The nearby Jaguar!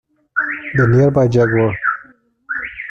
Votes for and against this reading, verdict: 0, 2, rejected